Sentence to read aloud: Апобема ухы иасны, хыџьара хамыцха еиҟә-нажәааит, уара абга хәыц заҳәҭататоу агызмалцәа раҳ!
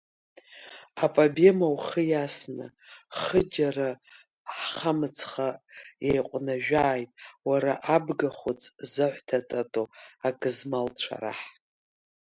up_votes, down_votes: 2, 1